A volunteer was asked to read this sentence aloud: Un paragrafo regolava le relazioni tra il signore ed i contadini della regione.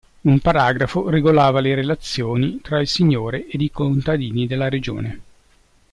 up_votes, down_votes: 2, 0